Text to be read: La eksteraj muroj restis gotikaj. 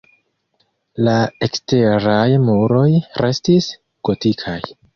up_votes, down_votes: 2, 0